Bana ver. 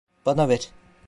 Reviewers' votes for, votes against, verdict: 2, 1, accepted